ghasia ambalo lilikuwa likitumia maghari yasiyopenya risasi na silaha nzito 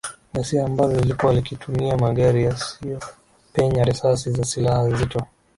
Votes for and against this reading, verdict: 1, 2, rejected